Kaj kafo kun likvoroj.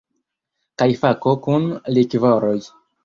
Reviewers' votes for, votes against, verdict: 0, 2, rejected